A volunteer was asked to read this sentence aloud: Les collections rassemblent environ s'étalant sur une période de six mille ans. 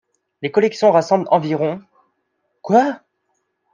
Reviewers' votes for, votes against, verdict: 1, 2, rejected